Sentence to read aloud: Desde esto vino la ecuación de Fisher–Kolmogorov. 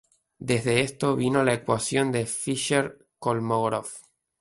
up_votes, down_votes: 2, 0